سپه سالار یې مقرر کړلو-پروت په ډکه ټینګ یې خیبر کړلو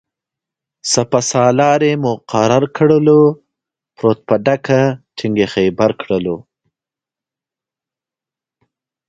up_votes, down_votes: 2, 0